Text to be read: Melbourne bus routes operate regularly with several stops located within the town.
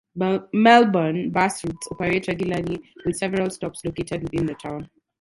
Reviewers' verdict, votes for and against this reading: rejected, 0, 2